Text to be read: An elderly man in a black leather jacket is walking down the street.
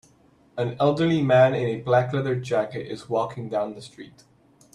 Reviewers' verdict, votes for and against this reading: accepted, 2, 0